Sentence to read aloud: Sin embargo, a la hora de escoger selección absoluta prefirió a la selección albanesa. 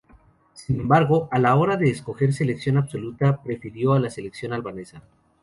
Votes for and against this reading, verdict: 2, 0, accepted